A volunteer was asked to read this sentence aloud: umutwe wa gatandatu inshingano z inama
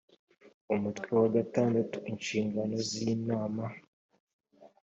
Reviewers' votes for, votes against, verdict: 2, 0, accepted